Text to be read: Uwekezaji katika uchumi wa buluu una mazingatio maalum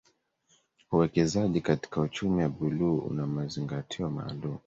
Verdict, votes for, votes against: rejected, 1, 2